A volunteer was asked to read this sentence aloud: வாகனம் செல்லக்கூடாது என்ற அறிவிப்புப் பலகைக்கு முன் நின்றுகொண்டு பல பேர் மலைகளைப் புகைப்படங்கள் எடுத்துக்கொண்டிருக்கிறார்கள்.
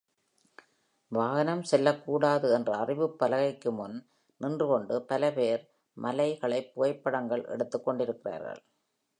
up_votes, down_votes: 2, 0